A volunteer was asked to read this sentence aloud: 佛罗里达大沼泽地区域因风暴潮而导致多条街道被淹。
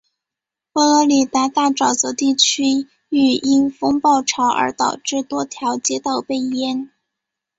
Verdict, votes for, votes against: accepted, 2, 0